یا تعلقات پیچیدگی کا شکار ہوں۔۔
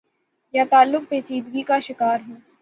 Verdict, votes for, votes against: rejected, 3, 3